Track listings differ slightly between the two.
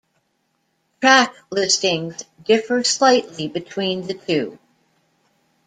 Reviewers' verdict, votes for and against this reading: accepted, 2, 0